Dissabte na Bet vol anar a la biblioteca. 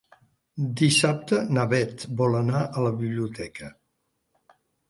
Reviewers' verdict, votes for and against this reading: accepted, 2, 0